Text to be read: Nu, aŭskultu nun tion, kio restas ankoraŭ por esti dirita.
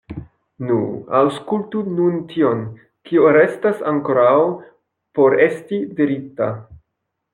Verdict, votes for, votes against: rejected, 1, 2